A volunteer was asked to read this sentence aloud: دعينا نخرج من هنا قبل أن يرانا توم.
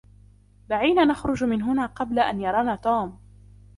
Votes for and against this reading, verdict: 2, 0, accepted